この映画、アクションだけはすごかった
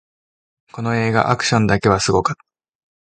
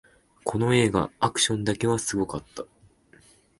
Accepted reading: second